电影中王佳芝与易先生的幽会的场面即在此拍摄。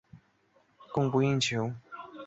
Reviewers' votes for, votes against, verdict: 3, 3, rejected